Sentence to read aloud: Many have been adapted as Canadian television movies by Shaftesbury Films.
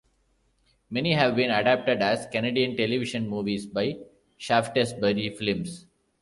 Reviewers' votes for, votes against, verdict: 1, 2, rejected